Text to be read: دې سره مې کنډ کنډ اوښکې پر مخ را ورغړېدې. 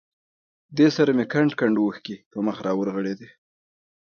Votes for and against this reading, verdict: 2, 0, accepted